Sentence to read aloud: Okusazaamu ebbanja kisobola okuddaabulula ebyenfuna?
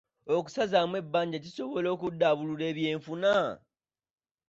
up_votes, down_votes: 2, 0